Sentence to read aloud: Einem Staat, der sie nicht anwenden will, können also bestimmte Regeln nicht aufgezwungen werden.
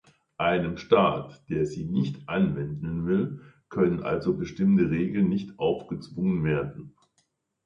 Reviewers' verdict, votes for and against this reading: accepted, 2, 0